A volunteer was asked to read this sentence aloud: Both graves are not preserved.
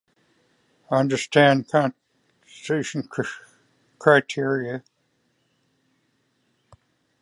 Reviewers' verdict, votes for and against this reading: rejected, 0, 2